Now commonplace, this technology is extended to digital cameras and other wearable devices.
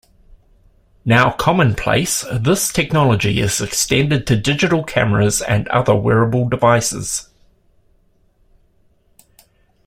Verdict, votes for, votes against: accepted, 2, 0